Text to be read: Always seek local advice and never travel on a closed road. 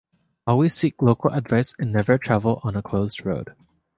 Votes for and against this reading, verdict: 2, 0, accepted